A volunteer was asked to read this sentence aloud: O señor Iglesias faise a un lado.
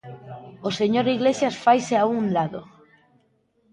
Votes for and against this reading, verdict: 2, 0, accepted